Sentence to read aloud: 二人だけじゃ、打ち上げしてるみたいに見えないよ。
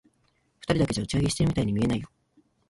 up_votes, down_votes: 1, 2